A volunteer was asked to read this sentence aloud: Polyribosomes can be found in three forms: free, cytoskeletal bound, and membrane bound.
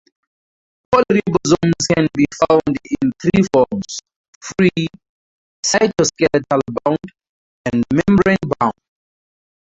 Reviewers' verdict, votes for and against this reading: rejected, 0, 2